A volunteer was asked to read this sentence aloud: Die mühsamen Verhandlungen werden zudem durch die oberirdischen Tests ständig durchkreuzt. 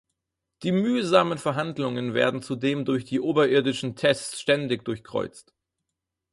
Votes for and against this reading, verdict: 6, 0, accepted